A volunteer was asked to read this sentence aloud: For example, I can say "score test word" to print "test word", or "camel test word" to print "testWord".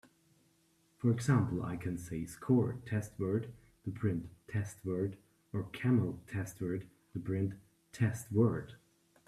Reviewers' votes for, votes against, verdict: 2, 0, accepted